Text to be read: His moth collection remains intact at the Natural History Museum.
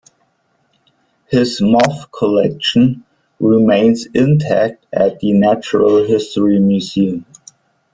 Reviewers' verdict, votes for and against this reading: rejected, 1, 2